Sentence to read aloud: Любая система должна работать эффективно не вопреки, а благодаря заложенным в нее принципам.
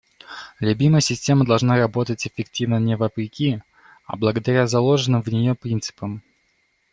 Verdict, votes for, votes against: rejected, 0, 2